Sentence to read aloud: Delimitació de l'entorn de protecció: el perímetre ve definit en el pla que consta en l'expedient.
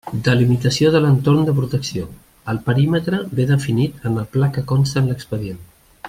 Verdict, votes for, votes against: accepted, 2, 0